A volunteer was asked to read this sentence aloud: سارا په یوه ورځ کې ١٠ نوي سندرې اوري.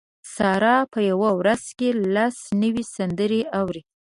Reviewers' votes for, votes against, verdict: 0, 2, rejected